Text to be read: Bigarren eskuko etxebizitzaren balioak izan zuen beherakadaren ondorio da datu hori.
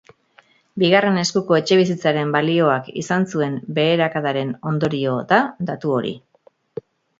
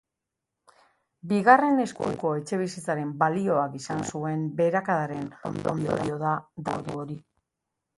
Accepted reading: first